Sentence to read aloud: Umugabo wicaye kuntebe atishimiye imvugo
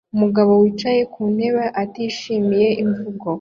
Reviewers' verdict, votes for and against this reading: accepted, 2, 0